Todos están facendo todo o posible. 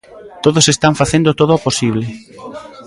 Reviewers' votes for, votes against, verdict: 1, 2, rejected